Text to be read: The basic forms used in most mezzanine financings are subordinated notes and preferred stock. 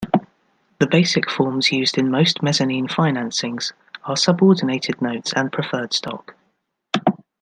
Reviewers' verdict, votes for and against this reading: accepted, 2, 0